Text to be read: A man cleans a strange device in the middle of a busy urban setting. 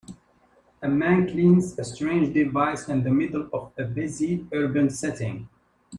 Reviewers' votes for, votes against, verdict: 2, 1, accepted